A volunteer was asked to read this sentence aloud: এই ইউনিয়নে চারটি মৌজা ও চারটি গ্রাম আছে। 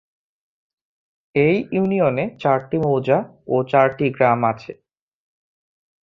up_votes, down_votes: 2, 0